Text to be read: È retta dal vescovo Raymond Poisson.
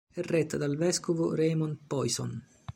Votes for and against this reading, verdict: 1, 2, rejected